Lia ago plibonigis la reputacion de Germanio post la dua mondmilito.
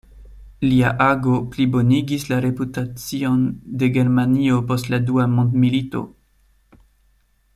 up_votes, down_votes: 2, 0